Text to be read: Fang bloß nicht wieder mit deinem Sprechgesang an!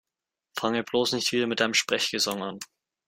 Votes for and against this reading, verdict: 2, 0, accepted